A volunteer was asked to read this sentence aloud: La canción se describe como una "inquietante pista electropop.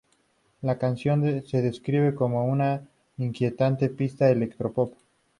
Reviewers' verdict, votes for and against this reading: rejected, 0, 2